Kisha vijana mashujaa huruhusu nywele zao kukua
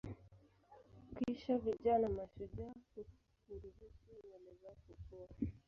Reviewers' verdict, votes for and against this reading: rejected, 1, 2